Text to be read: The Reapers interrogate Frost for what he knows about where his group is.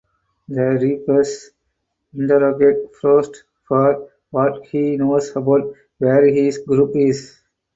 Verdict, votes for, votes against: accepted, 4, 0